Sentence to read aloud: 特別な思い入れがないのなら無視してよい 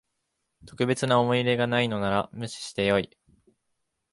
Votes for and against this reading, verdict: 7, 0, accepted